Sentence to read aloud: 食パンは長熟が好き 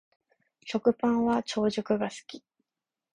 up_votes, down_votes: 2, 0